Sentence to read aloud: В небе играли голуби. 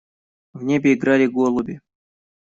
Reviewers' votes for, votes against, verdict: 2, 0, accepted